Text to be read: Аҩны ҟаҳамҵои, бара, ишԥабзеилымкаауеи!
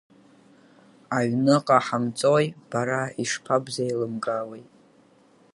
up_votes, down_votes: 7, 2